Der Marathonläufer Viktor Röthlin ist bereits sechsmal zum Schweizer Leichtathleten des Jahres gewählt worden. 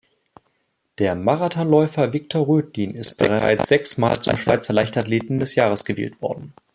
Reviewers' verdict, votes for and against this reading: rejected, 1, 2